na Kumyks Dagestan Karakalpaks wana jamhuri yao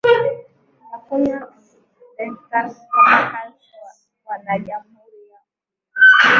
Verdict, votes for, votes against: rejected, 0, 10